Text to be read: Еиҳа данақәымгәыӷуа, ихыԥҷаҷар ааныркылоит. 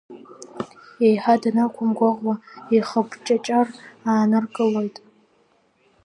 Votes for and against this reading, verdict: 2, 1, accepted